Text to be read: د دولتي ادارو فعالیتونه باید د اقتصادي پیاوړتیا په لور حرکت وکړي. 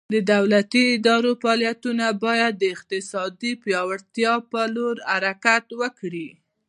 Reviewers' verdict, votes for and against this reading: accepted, 2, 0